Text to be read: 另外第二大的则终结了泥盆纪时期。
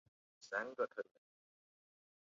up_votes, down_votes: 1, 5